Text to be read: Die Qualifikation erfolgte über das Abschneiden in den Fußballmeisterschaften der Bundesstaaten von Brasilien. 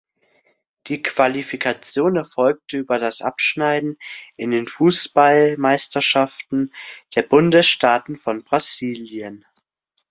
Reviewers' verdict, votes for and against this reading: accepted, 2, 0